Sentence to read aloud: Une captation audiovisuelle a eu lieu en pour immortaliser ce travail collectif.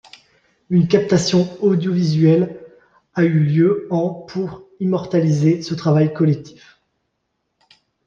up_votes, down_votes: 2, 1